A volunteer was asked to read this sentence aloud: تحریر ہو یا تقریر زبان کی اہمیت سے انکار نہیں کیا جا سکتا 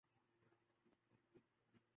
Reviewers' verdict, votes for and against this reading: rejected, 0, 2